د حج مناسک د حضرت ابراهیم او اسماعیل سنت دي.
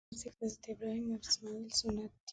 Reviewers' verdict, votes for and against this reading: rejected, 1, 2